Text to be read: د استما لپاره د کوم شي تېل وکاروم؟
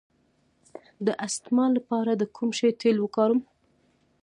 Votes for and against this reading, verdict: 2, 1, accepted